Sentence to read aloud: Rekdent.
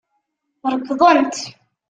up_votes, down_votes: 2, 1